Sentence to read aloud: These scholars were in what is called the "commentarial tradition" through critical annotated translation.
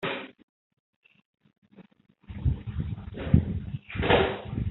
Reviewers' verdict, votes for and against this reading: rejected, 0, 2